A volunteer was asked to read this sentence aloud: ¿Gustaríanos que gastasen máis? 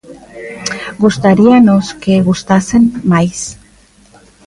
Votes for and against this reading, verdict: 0, 2, rejected